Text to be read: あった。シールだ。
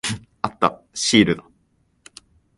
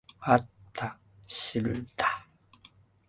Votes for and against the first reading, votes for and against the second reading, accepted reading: 2, 0, 0, 2, first